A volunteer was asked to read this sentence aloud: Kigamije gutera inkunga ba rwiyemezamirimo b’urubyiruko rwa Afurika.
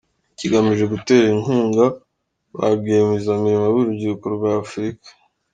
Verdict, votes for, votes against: accepted, 2, 0